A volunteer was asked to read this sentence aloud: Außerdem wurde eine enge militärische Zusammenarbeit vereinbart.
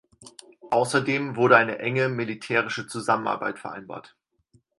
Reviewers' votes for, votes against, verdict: 4, 0, accepted